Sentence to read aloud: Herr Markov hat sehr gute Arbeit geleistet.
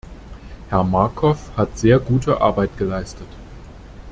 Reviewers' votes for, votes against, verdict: 2, 0, accepted